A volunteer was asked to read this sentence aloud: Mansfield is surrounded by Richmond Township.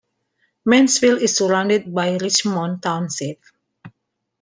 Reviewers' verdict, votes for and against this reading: accepted, 2, 1